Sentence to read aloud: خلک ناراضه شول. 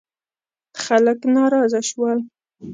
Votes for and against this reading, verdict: 2, 0, accepted